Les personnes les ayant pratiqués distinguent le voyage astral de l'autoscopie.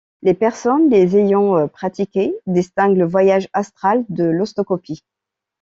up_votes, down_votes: 1, 2